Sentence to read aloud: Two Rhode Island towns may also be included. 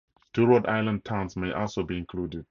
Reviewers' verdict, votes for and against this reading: accepted, 4, 0